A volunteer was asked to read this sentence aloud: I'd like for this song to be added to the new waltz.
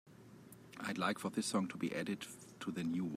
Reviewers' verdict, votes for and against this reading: rejected, 0, 2